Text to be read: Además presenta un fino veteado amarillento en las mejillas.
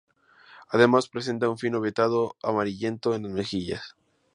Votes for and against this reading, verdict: 0, 4, rejected